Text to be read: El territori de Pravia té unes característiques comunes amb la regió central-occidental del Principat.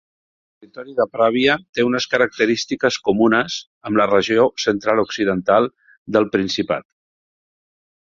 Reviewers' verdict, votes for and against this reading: accepted, 3, 2